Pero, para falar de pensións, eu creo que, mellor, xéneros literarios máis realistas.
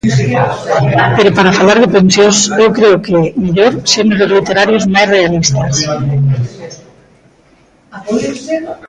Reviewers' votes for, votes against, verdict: 1, 2, rejected